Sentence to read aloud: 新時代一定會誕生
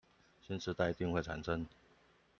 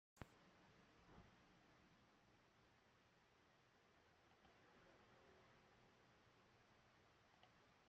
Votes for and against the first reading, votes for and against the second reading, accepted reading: 2, 0, 0, 2, first